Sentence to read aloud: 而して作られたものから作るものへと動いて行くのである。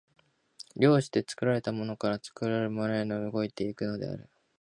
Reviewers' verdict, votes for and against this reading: rejected, 1, 2